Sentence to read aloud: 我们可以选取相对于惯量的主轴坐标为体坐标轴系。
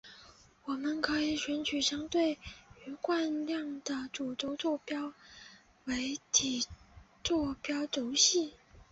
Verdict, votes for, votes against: rejected, 0, 2